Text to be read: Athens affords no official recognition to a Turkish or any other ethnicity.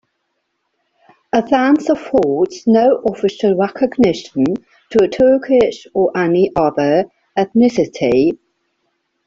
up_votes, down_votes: 2, 0